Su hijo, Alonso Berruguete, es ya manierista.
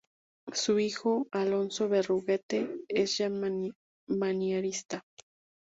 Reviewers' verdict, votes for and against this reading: rejected, 0, 2